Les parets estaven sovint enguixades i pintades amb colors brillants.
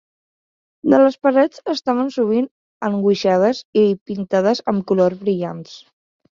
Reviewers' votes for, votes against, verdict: 1, 2, rejected